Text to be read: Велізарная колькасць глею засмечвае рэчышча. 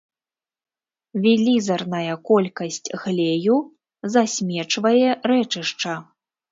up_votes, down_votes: 0, 2